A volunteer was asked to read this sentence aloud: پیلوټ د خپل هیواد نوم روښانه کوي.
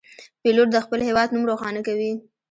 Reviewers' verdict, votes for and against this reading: rejected, 1, 2